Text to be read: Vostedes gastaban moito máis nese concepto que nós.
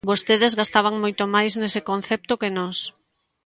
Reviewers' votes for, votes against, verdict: 2, 0, accepted